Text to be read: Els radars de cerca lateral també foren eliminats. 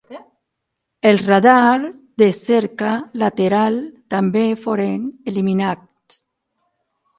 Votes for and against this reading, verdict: 3, 6, rejected